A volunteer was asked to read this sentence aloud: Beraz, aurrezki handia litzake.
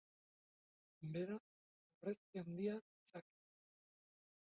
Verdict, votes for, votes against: rejected, 0, 4